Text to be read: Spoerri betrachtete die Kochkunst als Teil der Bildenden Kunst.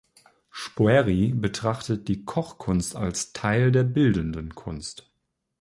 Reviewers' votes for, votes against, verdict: 1, 2, rejected